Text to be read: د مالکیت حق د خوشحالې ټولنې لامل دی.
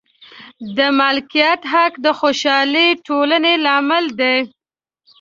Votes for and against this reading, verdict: 1, 2, rejected